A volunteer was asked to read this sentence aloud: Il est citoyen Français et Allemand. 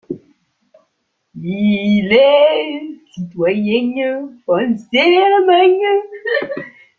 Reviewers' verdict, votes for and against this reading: rejected, 1, 2